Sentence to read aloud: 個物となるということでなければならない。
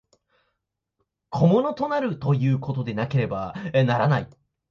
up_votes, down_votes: 0, 2